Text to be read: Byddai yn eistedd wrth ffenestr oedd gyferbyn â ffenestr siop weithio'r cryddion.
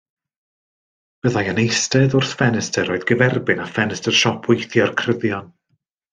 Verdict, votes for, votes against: accepted, 2, 0